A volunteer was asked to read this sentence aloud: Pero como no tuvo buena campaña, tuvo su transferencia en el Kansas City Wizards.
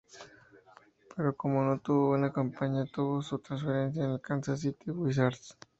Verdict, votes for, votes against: accepted, 2, 0